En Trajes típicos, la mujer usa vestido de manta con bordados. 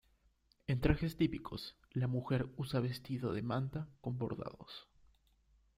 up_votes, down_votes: 2, 0